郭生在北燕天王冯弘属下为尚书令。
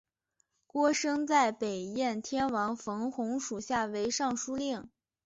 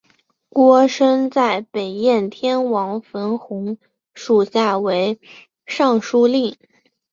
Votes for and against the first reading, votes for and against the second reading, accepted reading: 4, 0, 1, 2, first